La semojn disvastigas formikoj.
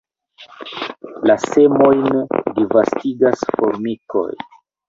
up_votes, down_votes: 0, 2